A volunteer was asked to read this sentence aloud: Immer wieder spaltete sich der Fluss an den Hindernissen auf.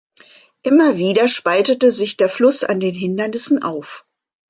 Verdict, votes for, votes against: accepted, 2, 0